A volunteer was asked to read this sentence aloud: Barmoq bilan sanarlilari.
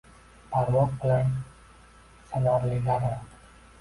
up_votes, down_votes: 1, 2